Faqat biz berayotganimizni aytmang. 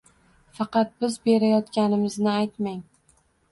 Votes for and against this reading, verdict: 1, 2, rejected